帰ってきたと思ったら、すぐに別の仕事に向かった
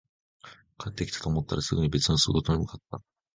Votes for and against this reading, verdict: 1, 2, rejected